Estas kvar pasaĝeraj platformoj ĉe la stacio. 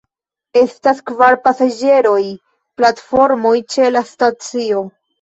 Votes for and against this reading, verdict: 0, 2, rejected